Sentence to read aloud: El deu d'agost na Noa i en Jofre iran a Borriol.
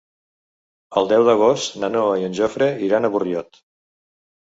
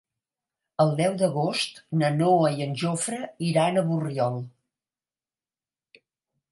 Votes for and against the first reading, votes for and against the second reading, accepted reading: 1, 2, 2, 0, second